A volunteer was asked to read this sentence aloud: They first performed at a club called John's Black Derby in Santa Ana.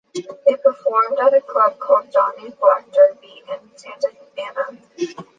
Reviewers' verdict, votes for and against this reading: rejected, 1, 2